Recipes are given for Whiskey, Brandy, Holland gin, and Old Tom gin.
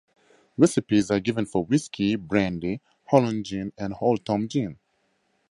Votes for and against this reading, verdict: 4, 0, accepted